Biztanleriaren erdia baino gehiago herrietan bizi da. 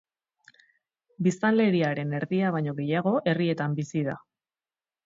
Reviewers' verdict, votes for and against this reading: rejected, 0, 2